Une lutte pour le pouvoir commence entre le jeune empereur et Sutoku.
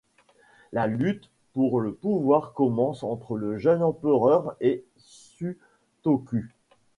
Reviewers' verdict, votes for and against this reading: rejected, 1, 2